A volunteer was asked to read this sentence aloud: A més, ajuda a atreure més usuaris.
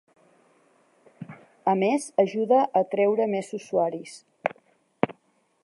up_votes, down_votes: 0, 2